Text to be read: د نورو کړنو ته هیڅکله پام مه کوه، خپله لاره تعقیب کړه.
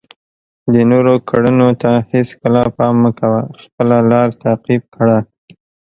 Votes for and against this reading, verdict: 2, 0, accepted